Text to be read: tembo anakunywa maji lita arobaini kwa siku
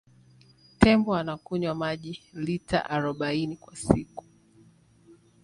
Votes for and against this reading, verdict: 2, 0, accepted